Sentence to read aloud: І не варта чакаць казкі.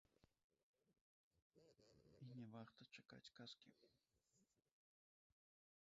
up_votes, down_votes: 0, 2